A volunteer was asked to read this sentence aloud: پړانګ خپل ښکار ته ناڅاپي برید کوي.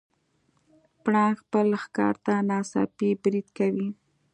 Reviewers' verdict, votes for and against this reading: accepted, 2, 0